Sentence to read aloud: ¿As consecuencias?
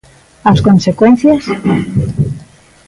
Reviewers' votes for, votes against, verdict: 0, 2, rejected